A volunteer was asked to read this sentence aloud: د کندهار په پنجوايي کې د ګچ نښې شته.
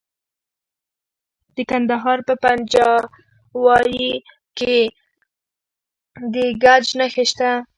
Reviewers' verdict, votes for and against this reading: rejected, 1, 2